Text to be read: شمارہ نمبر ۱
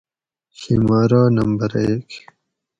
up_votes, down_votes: 0, 2